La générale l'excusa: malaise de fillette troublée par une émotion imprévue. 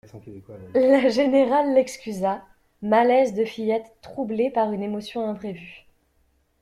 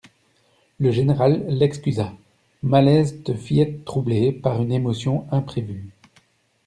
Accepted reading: first